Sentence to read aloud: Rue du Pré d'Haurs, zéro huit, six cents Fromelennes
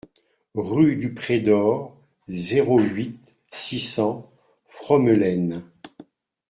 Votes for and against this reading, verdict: 2, 0, accepted